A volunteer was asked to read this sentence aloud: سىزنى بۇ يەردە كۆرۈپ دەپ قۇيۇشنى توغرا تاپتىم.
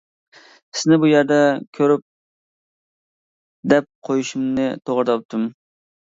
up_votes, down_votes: 0, 2